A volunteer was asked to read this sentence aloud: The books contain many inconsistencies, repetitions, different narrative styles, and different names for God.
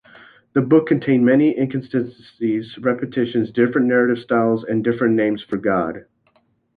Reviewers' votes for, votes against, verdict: 1, 2, rejected